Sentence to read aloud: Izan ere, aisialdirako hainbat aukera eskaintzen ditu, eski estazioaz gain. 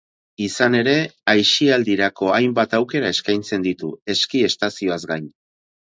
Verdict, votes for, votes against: accepted, 4, 0